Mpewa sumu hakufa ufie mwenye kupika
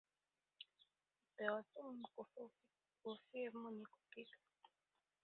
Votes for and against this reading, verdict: 2, 0, accepted